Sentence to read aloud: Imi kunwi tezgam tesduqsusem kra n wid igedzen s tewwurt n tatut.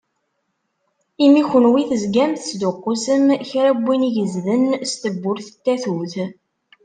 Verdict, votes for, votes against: rejected, 0, 2